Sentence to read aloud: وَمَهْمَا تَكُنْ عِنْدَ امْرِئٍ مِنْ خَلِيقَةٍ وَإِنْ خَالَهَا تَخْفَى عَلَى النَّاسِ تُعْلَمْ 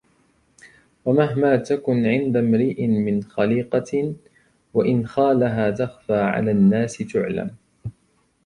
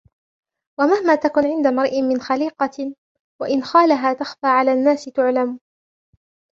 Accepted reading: first